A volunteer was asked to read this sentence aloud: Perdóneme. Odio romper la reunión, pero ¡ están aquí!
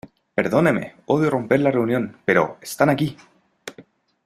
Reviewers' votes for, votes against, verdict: 2, 0, accepted